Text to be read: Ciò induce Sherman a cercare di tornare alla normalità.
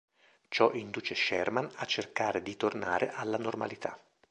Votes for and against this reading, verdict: 3, 0, accepted